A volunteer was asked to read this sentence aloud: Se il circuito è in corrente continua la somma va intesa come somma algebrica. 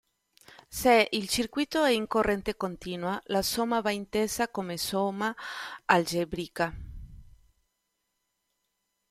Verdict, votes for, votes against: accepted, 2, 0